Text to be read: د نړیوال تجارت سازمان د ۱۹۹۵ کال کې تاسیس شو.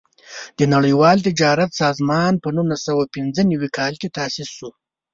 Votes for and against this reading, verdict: 0, 2, rejected